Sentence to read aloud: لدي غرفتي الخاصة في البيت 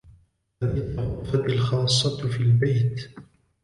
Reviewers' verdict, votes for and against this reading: rejected, 1, 2